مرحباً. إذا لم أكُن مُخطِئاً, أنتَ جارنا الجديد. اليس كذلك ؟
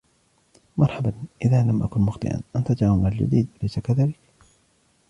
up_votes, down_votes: 1, 2